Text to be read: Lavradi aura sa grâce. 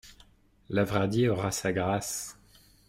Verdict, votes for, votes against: accepted, 2, 0